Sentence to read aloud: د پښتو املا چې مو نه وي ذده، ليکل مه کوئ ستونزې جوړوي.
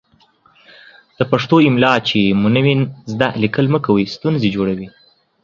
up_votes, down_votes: 2, 0